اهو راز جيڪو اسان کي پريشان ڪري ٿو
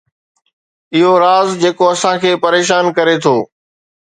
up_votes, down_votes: 3, 0